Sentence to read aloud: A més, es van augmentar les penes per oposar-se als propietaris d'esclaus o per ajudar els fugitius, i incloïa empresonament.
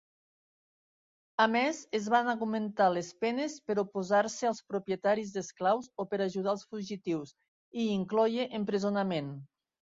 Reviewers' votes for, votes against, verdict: 3, 1, accepted